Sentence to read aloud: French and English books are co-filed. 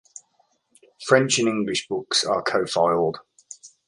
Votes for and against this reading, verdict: 2, 0, accepted